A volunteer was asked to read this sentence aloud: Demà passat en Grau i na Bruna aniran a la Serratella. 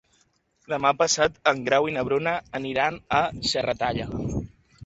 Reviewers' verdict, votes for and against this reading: rejected, 1, 2